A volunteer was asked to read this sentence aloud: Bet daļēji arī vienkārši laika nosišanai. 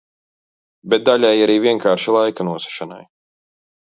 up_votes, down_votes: 2, 0